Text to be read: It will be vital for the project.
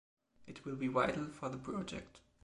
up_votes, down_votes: 2, 0